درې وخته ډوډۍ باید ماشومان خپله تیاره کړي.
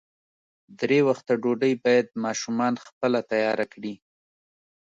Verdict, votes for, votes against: accepted, 2, 0